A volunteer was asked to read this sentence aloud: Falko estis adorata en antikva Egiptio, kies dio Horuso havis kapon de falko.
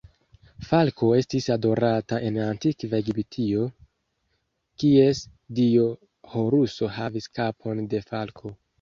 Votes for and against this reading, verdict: 2, 1, accepted